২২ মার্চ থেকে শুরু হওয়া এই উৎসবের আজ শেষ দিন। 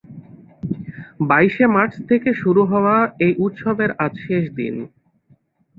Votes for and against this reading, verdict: 0, 2, rejected